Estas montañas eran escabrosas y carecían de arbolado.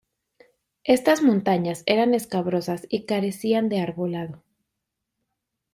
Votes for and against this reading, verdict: 2, 0, accepted